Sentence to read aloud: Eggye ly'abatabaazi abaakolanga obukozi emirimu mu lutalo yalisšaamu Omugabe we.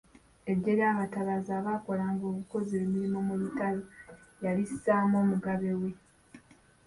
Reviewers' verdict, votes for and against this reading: rejected, 1, 2